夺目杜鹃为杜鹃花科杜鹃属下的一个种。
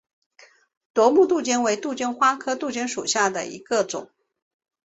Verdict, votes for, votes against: accepted, 5, 0